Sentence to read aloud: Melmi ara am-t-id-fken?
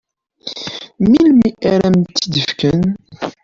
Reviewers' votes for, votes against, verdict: 2, 1, accepted